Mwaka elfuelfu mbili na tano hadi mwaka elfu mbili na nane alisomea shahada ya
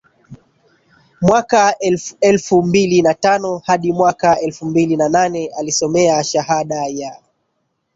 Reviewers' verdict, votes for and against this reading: accepted, 2, 1